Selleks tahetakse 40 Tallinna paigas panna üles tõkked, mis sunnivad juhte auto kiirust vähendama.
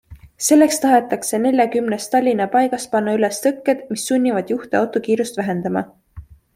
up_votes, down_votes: 0, 2